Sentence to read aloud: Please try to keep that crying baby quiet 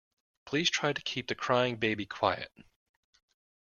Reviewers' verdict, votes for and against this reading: rejected, 0, 2